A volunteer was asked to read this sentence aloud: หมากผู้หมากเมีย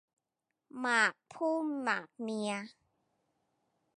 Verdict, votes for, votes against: accepted, 2, 0